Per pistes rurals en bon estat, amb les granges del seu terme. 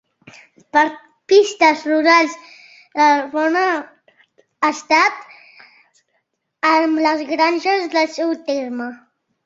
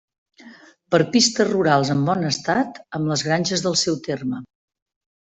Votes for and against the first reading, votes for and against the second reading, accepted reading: 0, 2, 3, 0, second